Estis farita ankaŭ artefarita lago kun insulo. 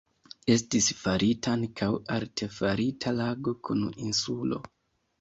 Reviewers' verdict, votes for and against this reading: rejected, 0, 2